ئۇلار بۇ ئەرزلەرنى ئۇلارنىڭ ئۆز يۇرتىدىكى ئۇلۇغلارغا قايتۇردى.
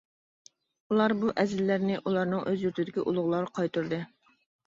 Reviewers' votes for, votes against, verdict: 0, 2, rejected